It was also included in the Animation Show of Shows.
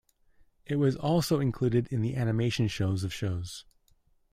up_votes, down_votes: 1, 2